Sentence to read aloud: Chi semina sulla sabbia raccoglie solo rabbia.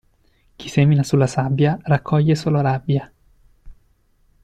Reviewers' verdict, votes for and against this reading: accepted, 2, 0